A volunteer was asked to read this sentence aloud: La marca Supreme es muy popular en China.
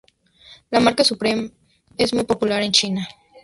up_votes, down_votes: 2, 0